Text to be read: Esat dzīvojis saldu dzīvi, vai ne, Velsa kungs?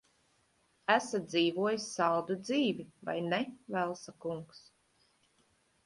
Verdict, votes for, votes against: accepted, 3, 0